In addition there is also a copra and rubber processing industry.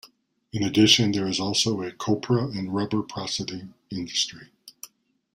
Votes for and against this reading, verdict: 1, 2, rejected